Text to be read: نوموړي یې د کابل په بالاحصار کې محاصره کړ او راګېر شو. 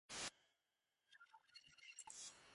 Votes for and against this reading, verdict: 1, 2, rejected